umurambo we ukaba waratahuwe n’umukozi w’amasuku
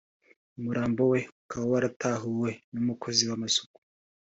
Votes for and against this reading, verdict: 3, 0, accepted